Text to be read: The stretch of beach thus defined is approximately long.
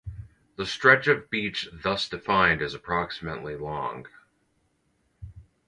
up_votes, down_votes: 4, 0